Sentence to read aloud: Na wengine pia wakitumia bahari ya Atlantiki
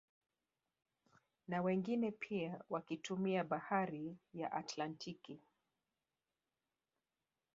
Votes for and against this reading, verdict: 1, 2, rejected